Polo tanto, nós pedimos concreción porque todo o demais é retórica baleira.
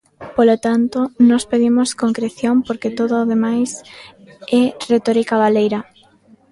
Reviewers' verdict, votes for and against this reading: accepted, 2, 0